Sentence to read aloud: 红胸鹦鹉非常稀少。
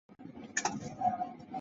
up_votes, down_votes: 0, 3